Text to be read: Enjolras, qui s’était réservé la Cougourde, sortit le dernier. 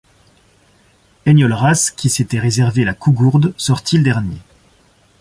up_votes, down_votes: 2, 0